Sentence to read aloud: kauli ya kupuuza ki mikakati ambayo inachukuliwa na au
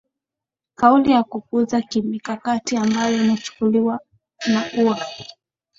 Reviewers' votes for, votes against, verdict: 2, 1, accepted